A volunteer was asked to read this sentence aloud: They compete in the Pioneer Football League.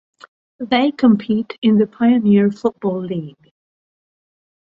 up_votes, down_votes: 3, 0